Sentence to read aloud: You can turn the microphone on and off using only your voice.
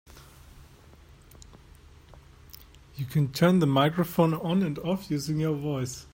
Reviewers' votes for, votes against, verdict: 1, 2, rejected